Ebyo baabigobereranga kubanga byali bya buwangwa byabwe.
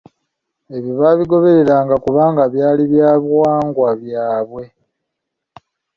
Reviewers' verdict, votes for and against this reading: accepted, 2, 0